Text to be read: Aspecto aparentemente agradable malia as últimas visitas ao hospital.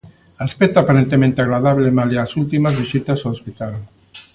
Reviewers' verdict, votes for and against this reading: accepted, 2, 0